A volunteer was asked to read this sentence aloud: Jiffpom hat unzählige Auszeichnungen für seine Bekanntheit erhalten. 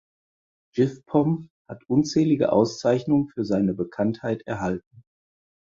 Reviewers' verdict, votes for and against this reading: accepted, 4, 0